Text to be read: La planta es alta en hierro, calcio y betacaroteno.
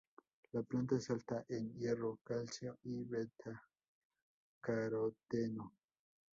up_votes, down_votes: 0, 2